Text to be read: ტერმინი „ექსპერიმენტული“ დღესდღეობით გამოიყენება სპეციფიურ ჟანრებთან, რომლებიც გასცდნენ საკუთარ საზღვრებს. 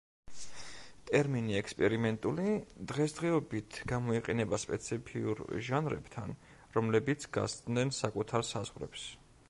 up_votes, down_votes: 1, 2